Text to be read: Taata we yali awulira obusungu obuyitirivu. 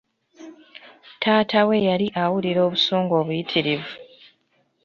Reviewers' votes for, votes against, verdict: 2, 0, accepted